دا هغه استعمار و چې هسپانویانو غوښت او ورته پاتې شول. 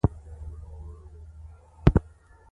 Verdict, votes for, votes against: rejected, 1, 2